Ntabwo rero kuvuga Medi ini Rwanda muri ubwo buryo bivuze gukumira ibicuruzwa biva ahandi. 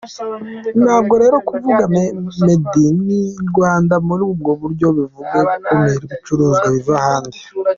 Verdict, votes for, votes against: rejected, 0, 2